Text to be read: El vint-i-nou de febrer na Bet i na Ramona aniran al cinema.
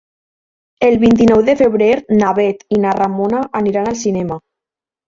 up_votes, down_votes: 2, 1